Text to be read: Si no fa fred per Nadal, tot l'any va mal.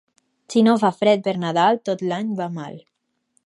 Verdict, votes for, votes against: accepted, 2, 0